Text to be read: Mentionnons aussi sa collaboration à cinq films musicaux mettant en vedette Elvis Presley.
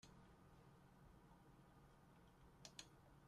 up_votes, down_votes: 0, 2